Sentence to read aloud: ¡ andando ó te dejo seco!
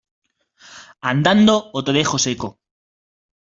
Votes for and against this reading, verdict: 2, 0, accepted